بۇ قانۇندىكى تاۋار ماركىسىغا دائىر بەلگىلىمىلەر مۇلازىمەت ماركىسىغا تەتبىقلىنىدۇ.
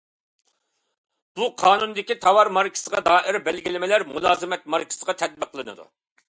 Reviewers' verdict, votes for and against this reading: accepted, 2, 0